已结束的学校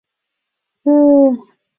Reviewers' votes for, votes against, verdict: 2, 3, rejected